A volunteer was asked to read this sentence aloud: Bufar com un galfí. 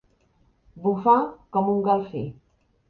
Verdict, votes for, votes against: accepted, 3, 0